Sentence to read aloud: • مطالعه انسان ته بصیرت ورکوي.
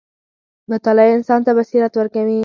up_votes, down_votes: 4, 0